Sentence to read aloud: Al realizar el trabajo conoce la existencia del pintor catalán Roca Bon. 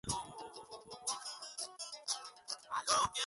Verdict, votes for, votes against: rejected, 2, 4